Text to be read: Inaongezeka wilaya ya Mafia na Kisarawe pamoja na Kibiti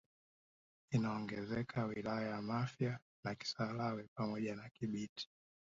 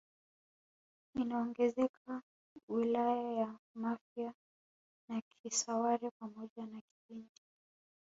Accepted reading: first